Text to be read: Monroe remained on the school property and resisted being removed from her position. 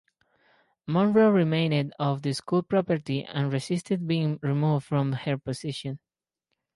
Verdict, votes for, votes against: accepted, 4, 0